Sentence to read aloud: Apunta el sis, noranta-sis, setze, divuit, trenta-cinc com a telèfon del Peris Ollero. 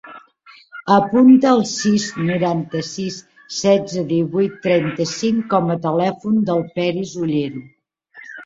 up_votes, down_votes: 1, 2